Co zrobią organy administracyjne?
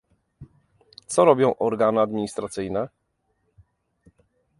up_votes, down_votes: 1, 2